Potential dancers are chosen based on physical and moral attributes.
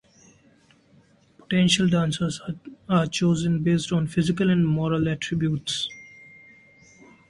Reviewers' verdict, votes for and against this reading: rejected, 0, 2